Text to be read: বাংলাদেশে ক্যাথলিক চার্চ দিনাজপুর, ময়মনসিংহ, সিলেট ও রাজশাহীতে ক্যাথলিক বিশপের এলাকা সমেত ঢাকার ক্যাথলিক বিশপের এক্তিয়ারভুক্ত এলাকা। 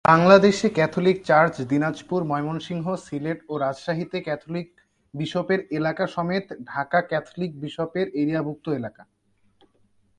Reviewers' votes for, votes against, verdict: 0, 2, rejected